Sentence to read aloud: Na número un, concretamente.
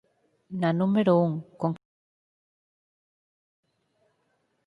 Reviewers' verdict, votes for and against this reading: rejected, 0, 4